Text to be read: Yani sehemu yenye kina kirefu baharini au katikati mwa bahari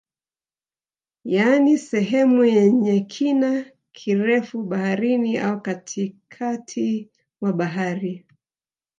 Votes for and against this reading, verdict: 1, 2, rejected